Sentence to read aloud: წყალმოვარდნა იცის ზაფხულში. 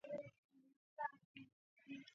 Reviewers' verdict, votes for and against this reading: rejected, 0, 2